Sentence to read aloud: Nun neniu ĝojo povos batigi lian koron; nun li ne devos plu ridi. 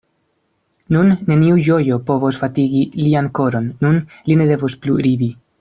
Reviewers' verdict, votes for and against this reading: rejected, 0, 2